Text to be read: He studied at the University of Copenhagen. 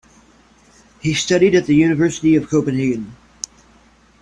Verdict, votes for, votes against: accepted, 2, 0